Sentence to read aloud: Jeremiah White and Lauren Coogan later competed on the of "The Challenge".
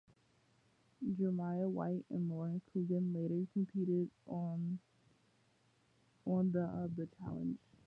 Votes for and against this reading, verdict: 0, 2, rejected